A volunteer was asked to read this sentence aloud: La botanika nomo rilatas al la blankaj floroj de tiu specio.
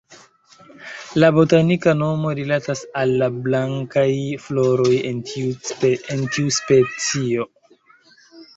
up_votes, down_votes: 0, 2